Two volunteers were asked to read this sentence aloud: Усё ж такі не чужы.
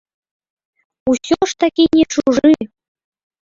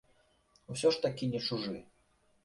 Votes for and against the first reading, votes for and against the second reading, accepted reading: 1, 2, 2, 0, second